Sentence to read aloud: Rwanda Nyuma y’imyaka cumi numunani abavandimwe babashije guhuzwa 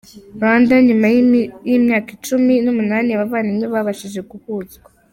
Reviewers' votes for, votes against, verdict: 0, 2, rejected